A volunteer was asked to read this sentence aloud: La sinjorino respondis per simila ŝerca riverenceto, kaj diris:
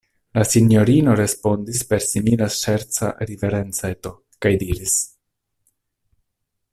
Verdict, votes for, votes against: accepted, 2, 0